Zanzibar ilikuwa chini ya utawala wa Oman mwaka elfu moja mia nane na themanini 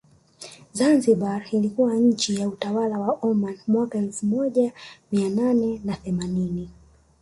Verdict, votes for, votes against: accepted, 3, 0